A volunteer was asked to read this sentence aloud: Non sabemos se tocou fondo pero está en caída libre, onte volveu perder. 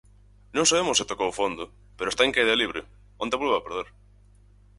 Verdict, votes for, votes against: rejected, 2, 4